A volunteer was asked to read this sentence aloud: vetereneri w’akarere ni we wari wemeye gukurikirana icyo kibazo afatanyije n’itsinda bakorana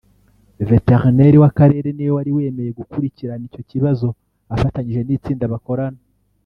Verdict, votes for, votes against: rejected, 1, 2